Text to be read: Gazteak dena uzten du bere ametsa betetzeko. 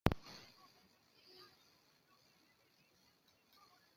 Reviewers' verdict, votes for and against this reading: rejected, 0, 2